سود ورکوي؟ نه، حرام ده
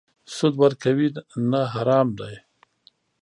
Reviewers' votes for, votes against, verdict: 1, 2, rejected